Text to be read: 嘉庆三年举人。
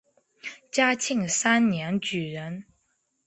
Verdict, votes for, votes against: accepted, 2, 0